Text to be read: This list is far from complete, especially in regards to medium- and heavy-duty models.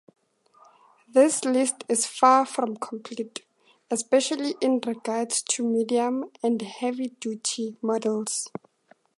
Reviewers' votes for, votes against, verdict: 2, 0, accepted